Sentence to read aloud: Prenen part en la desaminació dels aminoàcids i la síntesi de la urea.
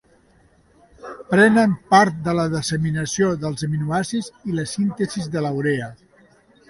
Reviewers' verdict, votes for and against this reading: rejected, 1, 2